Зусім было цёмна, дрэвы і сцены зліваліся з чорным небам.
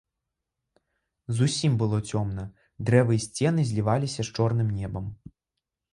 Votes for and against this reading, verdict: 2, 0, accepted